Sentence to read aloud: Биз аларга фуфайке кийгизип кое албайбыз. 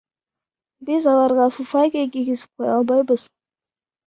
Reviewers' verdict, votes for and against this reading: rejected, 0, 2